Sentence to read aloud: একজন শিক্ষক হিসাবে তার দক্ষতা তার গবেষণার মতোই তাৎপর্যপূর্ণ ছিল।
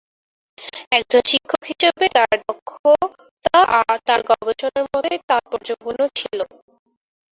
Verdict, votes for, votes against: rejected, 0, 3